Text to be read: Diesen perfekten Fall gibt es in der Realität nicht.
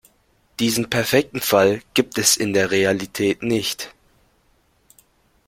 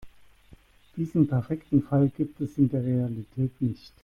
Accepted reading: first